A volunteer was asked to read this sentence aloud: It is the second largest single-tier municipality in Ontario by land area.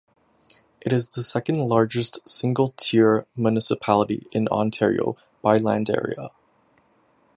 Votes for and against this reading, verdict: 2, 0, accepted